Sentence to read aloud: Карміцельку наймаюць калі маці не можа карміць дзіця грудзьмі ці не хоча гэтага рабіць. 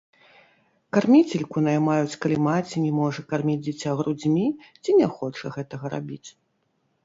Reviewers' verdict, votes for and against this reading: rejected, 1, 2